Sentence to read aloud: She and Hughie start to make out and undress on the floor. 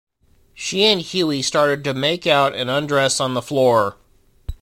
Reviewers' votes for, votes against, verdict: 1, 2, rejected